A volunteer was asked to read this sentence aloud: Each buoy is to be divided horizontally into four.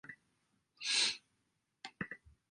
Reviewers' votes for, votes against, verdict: 0, 2, rejected